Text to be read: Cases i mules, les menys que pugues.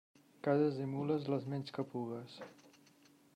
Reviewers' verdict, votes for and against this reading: rejected, 1, 2